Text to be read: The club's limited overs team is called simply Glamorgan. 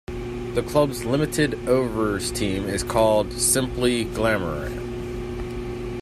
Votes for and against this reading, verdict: 1, 2, rejected